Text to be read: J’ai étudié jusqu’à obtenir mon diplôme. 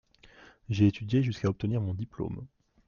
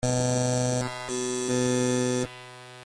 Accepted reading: first